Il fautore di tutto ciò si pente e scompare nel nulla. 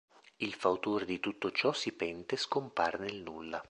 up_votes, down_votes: 2, 0